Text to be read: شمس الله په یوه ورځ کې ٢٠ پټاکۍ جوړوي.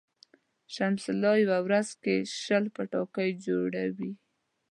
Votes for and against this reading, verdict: 0, 2, rejected